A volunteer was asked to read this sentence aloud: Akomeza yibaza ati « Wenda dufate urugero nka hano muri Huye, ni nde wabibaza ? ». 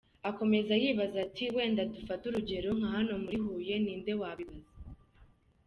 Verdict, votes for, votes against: accepted, 2, 0